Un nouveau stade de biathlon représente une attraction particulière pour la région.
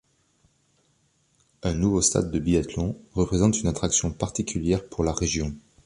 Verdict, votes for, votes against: accepted, 2, 0